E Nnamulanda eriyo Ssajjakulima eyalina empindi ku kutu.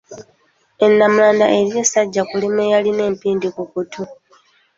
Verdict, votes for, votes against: accepted, 2, 1